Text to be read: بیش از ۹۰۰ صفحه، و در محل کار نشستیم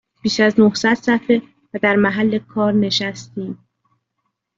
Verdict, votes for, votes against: rejected, 0, 2